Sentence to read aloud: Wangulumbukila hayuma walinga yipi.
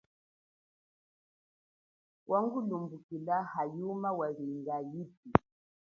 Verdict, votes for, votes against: accepted, 2, 0